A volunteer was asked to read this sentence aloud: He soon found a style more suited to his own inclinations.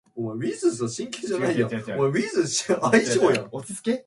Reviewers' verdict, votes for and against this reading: rejected, 0, 2